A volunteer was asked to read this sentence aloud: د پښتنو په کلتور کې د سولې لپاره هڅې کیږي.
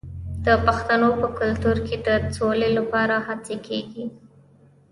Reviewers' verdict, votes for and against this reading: rejected, 1, 2